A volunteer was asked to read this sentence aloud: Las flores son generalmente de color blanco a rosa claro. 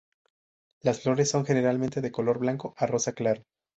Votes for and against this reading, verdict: 2, 0, accepted